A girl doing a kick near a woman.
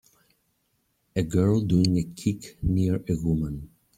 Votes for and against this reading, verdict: 0, 2, rejected